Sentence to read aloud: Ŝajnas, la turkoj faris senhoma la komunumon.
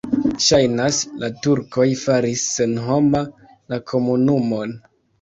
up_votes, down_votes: 1, 2